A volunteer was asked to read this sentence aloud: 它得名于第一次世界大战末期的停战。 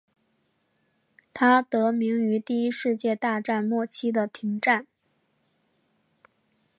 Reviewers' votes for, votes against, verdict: 0, 2, rejected